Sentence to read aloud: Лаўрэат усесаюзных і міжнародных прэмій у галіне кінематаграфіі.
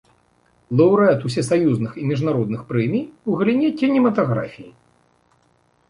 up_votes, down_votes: 2, 0